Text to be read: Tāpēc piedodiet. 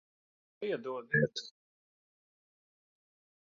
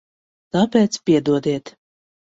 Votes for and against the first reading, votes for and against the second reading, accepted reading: 0, 2, 2, 0, second